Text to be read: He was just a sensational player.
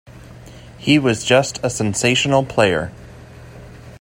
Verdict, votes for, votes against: accepted, 2, 0